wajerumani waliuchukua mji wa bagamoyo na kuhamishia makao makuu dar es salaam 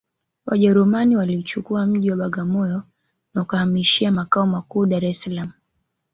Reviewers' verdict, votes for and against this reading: rejected, 0, 2